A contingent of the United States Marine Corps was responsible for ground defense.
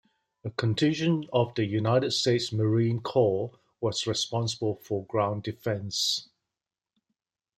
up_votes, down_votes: 2, 0